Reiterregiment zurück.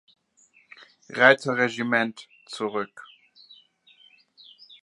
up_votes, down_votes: 2, 3